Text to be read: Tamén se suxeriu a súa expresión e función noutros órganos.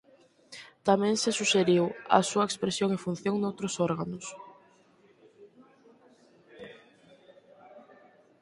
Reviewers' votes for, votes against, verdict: 2, 4, rejected